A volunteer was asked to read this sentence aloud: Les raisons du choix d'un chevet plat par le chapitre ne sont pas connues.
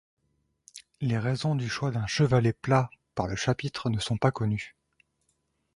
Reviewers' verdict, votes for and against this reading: rejected, 1, 2